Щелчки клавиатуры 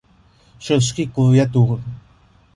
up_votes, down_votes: 0, 2